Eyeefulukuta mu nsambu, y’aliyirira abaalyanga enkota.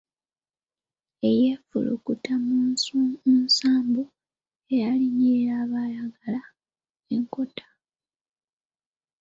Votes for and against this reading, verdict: 1, 2, rejected